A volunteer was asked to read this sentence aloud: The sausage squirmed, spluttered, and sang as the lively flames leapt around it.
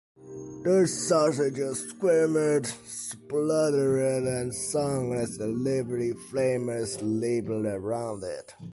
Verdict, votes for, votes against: rejected, 1, 2